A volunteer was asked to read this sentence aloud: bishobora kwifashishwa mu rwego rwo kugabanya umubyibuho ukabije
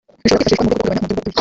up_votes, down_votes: 0, 2